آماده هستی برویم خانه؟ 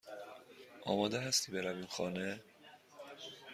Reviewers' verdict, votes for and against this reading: accepted, 2, 0